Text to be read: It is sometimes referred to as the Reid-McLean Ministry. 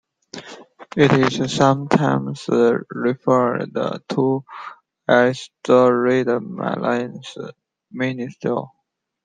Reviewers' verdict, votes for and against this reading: rejected, 0, 2